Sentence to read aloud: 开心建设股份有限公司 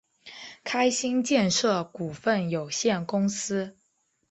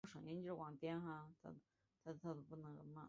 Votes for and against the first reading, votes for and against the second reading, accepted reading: 3, 0, 2, 4, first